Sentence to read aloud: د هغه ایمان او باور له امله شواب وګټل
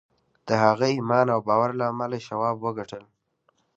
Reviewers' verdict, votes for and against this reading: accepted, 2, 0